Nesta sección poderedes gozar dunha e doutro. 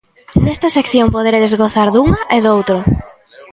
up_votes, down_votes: 1, 2